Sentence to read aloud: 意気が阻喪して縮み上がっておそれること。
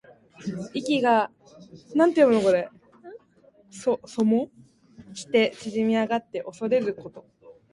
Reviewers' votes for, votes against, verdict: 1, 2, rejected